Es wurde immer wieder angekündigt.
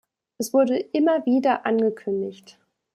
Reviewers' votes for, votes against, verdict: 2, 0, accepted